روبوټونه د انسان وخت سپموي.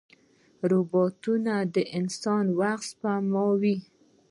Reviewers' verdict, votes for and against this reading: rejected, 0, 2